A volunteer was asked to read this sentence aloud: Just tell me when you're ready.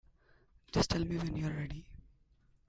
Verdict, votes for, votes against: accepted, 2, 0